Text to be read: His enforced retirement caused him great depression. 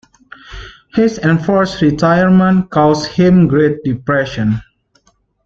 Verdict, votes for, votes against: accepted, 2, 0